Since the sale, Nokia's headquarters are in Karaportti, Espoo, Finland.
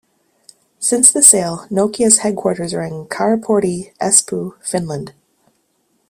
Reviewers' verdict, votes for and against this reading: accepted, 2, 0